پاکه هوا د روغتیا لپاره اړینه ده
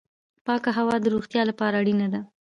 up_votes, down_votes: 2, 0